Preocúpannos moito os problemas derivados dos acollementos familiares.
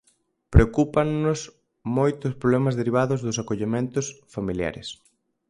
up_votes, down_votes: 4, 0